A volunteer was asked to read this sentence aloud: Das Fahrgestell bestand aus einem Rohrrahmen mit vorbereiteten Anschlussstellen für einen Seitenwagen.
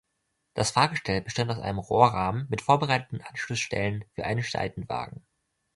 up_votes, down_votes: 1, 2